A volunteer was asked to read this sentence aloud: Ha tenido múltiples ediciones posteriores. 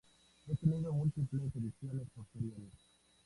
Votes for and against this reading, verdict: 2, 0, accepted